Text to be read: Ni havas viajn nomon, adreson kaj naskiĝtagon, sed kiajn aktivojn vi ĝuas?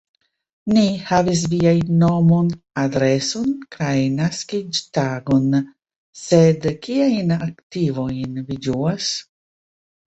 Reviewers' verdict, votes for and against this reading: rejected, 1, 2